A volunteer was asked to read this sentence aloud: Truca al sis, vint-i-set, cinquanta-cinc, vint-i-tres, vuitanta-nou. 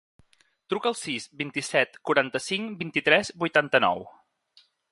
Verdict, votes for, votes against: rejected, 0, 2